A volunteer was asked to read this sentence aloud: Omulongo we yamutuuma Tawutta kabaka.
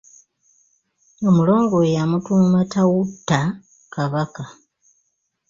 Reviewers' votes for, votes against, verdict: 2, 0, accepted